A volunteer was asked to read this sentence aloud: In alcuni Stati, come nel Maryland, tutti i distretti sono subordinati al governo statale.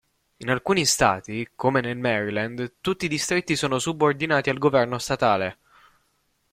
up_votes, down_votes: 2, 0